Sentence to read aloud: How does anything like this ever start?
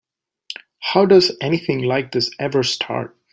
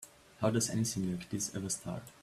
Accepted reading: first